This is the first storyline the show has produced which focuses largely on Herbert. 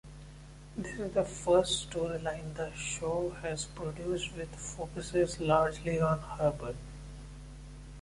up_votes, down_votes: 1, 2